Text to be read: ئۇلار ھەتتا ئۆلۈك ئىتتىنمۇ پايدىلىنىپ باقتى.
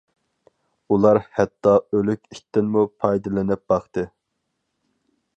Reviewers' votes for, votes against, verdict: 4, 0, accepted